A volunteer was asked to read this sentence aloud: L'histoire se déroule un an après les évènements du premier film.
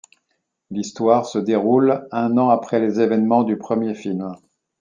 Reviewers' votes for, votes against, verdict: 2, 0, accepted